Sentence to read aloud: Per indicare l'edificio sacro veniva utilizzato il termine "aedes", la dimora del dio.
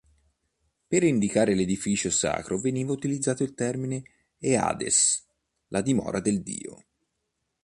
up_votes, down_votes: 1, 2